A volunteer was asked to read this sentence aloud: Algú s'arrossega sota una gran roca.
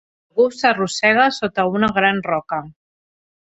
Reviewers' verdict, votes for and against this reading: rejected, 2, 3